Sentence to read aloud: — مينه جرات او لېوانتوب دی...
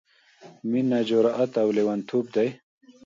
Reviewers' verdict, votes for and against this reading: rejected, 0, 2